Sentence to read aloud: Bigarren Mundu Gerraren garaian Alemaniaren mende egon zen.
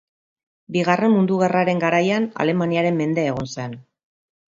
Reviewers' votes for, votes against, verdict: 3, 0, accepted